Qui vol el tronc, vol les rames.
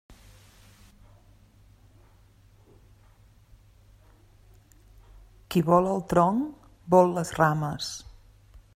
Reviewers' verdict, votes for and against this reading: rejected, 1, 2